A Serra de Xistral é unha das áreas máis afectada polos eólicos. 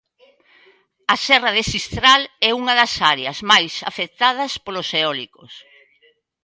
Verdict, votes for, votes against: rejected, 0, 2